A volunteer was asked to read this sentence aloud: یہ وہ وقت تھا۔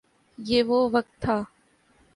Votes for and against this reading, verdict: 2, 0, accepted